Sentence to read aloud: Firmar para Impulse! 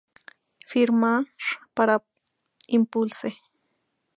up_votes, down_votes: 0, 2